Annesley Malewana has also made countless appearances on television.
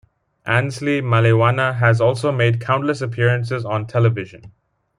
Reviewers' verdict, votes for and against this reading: accepted, 2, 0